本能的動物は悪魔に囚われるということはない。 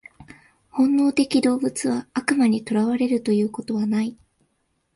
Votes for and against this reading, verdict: 2, 0, accepted